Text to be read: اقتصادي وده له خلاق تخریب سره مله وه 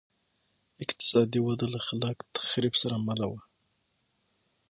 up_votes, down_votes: 6, 0